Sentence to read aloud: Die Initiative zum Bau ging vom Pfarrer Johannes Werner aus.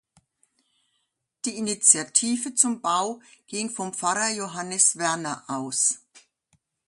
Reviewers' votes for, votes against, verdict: 3, 0, accepted